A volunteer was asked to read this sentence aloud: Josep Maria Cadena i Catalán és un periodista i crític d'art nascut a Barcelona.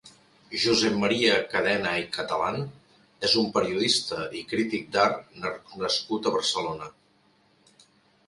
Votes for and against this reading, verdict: 0, 2, rejected